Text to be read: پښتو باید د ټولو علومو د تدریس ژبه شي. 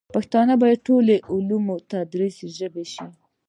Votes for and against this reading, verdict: 1, 2, rejected